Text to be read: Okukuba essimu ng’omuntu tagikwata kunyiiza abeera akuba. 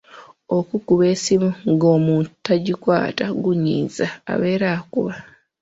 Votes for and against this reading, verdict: 1, 2, rejected